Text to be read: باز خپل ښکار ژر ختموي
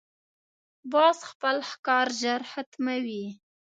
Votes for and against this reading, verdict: 1, 2, rejected